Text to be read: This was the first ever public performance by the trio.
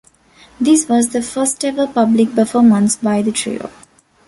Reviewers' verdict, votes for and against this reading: accepted, 2, 0